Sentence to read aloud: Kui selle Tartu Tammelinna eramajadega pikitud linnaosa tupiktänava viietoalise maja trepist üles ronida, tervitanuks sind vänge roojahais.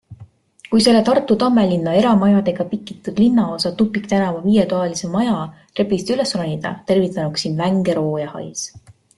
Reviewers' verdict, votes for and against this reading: accepted, 2, 0